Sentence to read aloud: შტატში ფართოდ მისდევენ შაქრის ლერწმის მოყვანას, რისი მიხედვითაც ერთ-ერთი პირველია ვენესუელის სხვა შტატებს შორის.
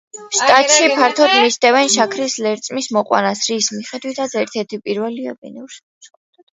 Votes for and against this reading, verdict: 0, 2, rejected